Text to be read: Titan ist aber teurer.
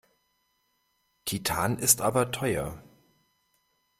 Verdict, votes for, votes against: rejected, 0, 2